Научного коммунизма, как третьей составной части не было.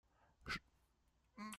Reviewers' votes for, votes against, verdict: 0, 2, rejected